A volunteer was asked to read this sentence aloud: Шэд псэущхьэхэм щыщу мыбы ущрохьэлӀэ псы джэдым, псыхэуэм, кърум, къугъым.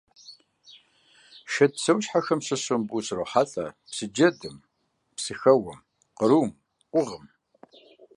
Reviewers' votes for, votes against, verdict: 2, 0, accepted